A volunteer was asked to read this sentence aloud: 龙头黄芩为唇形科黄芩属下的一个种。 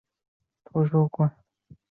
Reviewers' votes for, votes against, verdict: 0, 3, rejected